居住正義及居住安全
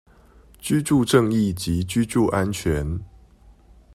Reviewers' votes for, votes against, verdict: 2, 0, accepted